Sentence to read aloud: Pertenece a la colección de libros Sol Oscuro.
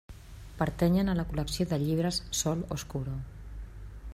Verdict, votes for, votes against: rejected, 1, 2